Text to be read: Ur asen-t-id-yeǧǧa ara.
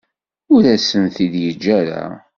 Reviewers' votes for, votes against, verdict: 2, 0, accepted